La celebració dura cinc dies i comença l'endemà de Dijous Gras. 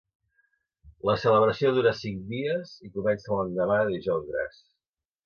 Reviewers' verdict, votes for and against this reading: accepted, 2, 0